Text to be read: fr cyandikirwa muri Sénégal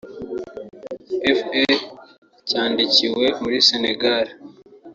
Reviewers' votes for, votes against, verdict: 0, 2, rejected